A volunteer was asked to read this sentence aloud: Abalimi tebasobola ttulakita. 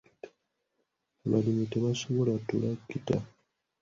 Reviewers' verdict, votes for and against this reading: accepted, 2, 1